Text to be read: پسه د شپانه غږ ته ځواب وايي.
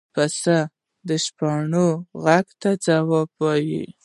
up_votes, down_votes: 1, 2